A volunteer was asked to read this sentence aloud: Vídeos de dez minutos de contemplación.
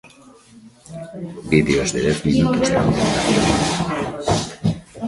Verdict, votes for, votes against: rejected, 0, 2